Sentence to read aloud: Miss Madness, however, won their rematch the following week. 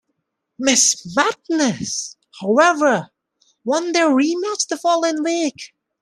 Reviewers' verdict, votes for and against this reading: accepted, 2, 0